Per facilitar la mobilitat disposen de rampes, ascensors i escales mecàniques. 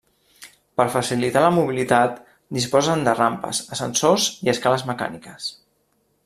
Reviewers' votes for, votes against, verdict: 3, 0, accepted